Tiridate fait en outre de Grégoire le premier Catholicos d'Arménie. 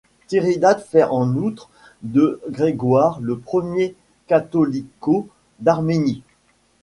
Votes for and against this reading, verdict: 1, 2, rejected